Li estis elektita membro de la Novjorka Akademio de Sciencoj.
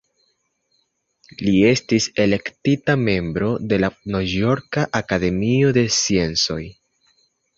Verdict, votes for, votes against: accepted, 2, 0